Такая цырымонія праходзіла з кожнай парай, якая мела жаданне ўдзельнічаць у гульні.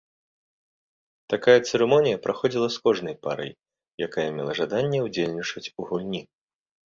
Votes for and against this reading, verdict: 2, 0, accepted